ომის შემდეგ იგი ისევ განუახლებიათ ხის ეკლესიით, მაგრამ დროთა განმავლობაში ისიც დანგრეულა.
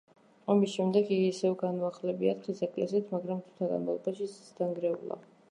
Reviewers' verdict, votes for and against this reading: rejected, 1, 2